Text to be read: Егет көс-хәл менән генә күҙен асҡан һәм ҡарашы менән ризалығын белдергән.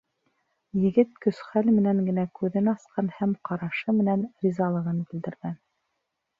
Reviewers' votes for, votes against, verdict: 2, 0, accepted